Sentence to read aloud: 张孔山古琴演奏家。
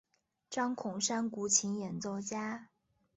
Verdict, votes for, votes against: accepted, 4, 0